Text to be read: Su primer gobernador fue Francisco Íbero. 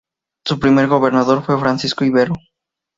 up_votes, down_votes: 2, 0